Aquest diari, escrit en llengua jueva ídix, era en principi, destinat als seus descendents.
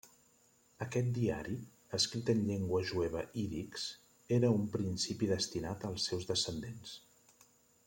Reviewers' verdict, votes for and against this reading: rejected, 0, 2